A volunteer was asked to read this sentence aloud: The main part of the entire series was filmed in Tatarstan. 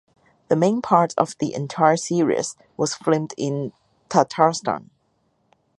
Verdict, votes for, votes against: rejected, 0, 2